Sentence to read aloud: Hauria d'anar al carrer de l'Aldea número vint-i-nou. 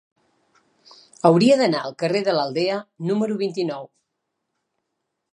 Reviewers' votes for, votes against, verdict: 3, 0, accepted